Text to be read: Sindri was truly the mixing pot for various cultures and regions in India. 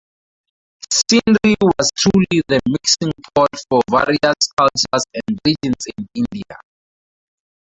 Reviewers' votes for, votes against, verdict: 0, 2, rejected